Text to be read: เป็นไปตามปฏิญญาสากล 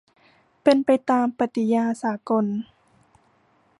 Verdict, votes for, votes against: rejected, 0, 2